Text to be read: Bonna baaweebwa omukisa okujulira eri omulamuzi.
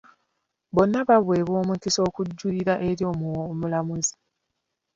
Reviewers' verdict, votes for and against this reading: rejected, 1, 2